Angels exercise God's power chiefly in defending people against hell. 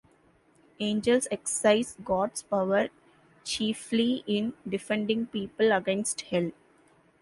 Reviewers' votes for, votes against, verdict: 1, 2, rejected